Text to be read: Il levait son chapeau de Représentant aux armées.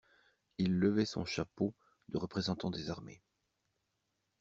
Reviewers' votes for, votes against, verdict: 0, 2, rejected